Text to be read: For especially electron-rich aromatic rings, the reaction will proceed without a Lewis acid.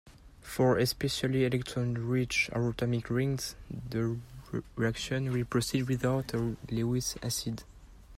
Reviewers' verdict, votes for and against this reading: rejected, 0, 2